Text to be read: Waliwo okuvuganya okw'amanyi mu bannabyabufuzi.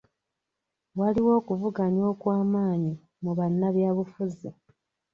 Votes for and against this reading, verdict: 3, 0, accepted